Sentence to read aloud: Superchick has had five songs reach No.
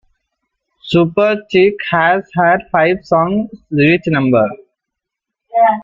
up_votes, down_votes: 0, 2